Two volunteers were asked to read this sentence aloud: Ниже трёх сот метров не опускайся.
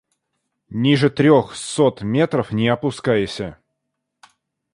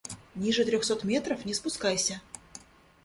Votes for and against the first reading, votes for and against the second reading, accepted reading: 2, 1, 0, 2, first